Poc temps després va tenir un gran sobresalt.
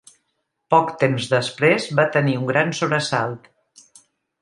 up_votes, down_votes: 3, 0